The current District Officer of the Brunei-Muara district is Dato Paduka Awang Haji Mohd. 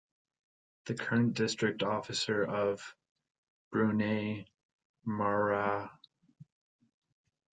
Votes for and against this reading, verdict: 0, 3, rejected